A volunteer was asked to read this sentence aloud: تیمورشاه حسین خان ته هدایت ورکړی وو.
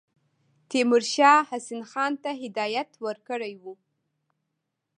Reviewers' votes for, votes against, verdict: 1, 2, rejected